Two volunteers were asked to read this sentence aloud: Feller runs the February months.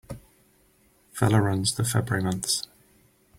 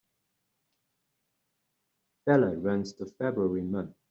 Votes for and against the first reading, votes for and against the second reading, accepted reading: 4, 0, 1, 2, first